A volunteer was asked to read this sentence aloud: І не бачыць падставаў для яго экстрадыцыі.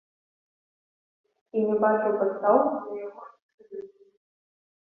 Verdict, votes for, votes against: rejected, 0, 2